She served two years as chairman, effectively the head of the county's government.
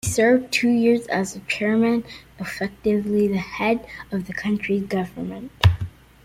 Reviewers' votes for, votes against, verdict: 2, 0, accepted